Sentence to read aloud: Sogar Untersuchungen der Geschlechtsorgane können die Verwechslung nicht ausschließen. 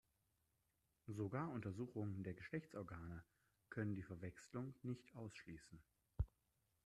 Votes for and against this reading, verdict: 1, 2, rejected